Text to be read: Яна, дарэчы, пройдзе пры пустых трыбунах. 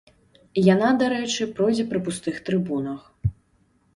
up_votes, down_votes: 2, 0